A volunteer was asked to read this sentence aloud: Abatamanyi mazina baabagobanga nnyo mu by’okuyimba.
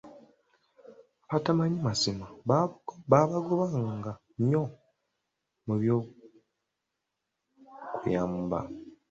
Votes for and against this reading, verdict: 1, 2, rejected